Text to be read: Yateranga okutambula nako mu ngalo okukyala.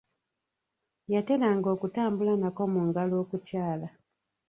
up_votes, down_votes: 1, 2